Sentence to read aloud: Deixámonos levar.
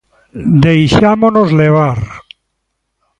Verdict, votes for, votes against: accepted, 2, 0